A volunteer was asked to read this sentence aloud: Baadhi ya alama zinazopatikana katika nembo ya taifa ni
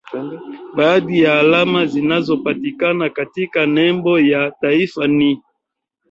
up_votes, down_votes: 1, 2